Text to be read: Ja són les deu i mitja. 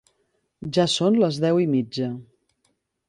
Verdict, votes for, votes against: accepted, 4, 1